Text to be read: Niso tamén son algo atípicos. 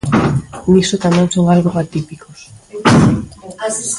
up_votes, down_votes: 0, 2